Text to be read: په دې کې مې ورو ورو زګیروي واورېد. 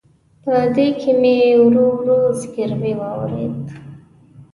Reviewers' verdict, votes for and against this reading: accepted, 2, 0